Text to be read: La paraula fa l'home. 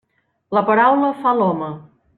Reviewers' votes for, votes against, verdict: 3, 0, accepted